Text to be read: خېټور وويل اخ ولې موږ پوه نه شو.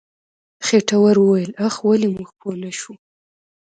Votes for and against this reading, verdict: 2, 1, accepted